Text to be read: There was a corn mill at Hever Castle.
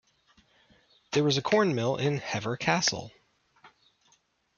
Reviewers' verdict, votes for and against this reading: rejected, 1, 2